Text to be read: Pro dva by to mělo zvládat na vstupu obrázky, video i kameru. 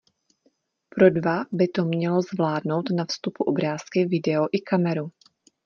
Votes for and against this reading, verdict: 1, 2, rejected